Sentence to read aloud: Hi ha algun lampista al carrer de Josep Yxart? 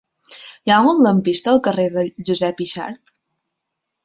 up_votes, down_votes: 0, 2